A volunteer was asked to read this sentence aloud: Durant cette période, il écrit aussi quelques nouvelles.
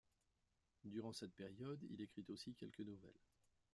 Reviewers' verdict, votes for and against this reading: rejected, 1, 2